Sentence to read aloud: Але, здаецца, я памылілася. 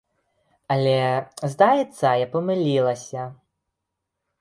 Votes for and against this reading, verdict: 1, 2, rejected